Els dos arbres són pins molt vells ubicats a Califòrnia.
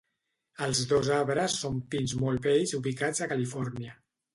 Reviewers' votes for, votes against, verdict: 2, 0, accepted